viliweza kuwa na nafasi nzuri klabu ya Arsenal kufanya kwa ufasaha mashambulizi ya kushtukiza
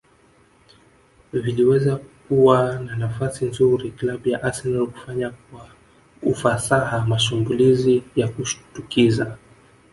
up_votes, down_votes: 1, 2